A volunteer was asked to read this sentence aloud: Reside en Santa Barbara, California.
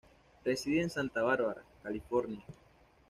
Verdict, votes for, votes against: accepted, 2, 0